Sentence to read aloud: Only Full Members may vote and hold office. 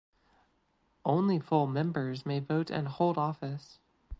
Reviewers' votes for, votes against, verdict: 2, 0, accepted